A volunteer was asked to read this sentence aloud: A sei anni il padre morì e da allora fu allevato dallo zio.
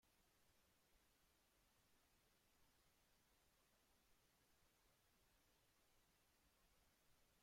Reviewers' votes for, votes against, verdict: 0, 2, rejected